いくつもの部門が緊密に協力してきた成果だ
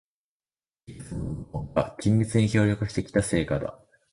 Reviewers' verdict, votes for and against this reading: rejected, 0, 2